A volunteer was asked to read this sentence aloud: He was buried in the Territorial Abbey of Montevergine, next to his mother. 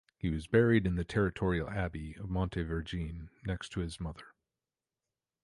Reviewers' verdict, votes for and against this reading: accepted, 2, 0